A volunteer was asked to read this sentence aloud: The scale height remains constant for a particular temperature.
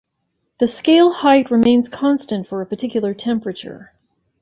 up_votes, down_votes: 2, 0